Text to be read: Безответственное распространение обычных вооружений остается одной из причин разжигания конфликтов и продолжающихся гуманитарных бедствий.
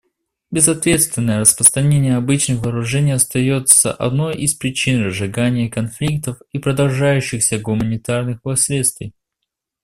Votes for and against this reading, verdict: 1, 2, rejected